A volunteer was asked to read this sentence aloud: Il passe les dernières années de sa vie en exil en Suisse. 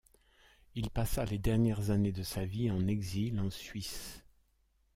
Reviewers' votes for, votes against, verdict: 0, 2, rejected